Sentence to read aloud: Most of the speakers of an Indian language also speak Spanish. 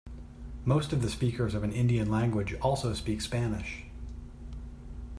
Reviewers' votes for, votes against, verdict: 2, 0, accepted